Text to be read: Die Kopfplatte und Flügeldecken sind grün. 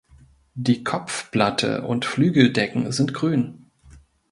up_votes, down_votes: 2, 0